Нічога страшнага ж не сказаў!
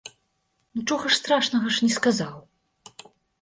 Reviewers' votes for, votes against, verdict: 1, 2, rejected